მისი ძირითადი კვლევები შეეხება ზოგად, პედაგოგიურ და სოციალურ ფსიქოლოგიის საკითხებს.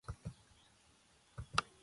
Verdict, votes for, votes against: rejected, 0, 2